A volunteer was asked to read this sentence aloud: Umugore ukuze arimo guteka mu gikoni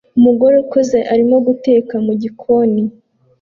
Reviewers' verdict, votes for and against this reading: accepted, 2, 0